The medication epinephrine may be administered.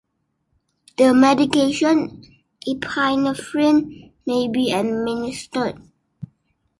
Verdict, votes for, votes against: accepted, 2, 1